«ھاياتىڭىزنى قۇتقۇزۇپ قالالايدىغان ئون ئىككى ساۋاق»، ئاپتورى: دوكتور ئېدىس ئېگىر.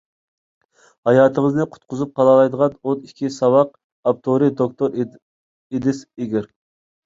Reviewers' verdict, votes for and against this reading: rejected, 0, 2